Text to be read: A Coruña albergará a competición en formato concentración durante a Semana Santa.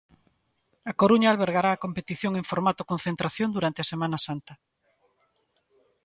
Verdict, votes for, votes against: accepted, 2, 0